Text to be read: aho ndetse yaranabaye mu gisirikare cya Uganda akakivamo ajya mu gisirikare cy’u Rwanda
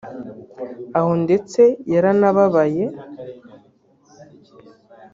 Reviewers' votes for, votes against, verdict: 0, 3, rejected